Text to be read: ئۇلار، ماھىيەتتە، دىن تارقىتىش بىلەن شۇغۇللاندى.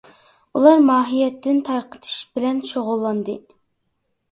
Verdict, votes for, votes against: rejected, 0, 2